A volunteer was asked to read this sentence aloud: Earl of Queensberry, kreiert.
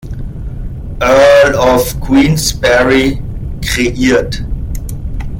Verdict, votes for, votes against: rejected, 1, 2